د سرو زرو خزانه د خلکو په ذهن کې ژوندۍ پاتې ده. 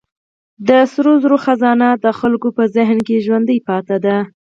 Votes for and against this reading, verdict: 4, 2, accepted